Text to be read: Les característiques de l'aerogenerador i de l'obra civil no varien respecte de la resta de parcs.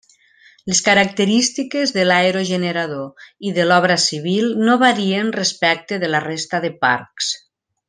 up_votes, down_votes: 3, 0